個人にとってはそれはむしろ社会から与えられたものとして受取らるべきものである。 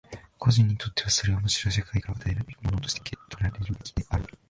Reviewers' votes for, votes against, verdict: 0, 2, rejected